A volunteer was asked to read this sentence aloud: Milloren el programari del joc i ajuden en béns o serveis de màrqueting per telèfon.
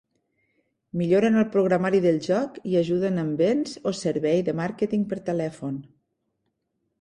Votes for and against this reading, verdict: 1, 2, rejected